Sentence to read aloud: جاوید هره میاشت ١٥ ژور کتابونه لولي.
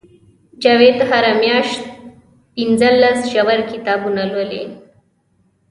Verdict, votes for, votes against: rejected, 0, 2